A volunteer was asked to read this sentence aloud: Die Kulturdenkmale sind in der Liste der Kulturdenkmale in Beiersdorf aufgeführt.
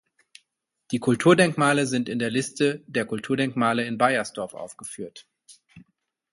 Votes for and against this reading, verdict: 4, 0, accepted